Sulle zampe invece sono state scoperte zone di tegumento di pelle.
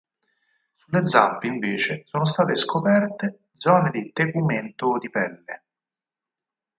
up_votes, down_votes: 4, 0